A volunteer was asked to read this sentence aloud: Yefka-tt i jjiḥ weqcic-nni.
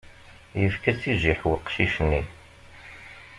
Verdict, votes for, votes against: accepted, 2, 0